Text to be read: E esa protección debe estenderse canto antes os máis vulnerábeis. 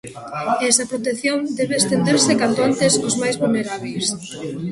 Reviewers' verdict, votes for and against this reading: rejected, 0, 2